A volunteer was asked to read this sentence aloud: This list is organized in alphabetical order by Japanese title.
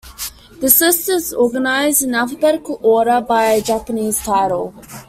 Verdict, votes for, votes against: accepted, 2, 1